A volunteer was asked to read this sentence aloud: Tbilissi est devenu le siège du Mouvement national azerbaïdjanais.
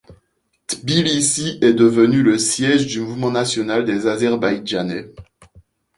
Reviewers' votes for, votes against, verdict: 2, 0, accepted